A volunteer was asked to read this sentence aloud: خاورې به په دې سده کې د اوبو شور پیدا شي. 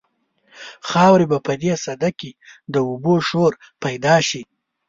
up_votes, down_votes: 2, 0